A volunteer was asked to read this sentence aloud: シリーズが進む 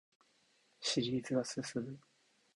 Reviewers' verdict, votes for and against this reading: accepted, 2, 0